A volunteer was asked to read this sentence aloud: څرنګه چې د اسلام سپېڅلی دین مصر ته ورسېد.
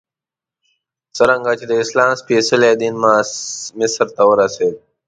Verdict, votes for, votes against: rejected, 1, 2